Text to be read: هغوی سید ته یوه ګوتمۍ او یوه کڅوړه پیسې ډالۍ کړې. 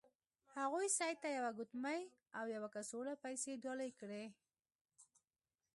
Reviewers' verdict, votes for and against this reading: accepted, 2, 0